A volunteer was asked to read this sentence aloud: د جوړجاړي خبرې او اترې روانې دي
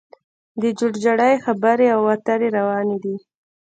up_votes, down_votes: 0, 2